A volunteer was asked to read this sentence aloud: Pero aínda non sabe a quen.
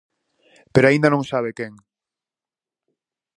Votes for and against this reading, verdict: 0, 4, rejected